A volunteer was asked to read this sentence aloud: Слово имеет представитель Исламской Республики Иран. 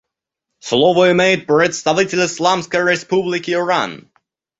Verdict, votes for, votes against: rejected, 0, 2